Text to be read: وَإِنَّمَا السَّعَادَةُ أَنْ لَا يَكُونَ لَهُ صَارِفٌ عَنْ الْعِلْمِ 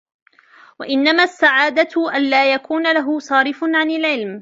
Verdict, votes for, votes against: accepted, 2, 0